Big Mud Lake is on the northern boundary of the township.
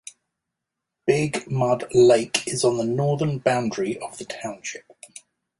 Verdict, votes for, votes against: accepted, 2, 0